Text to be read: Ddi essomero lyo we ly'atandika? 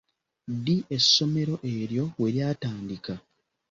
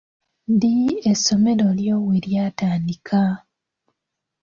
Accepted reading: second